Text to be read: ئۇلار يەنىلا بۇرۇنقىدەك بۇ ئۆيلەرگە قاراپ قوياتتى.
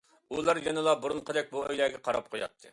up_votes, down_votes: 2, 0